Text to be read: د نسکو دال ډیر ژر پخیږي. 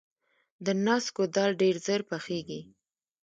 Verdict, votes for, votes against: accepted, 2, 1